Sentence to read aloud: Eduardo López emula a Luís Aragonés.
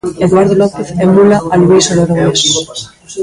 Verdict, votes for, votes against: rejected, 1, 2